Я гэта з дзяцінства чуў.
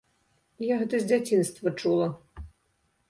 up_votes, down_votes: 0, 3